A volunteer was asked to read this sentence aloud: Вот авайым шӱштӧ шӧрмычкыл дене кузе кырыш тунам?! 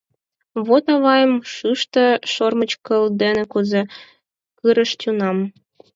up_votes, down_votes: 4, 2